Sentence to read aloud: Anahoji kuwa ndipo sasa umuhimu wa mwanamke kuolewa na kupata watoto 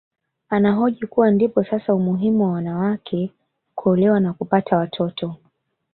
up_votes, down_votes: 2, 1